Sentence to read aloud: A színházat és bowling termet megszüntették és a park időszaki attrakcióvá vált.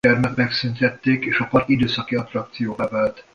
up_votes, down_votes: 0, 2